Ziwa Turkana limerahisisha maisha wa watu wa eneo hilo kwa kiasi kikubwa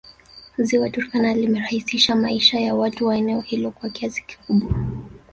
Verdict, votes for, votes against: rejected, 1, 2